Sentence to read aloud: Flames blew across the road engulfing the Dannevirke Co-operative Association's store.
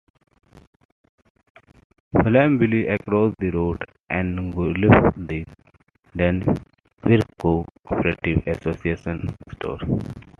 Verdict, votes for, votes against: rejected, 1, 2